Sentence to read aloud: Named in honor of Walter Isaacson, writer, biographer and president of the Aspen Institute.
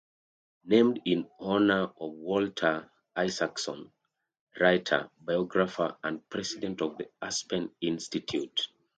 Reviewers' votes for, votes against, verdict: 2, 0, accepted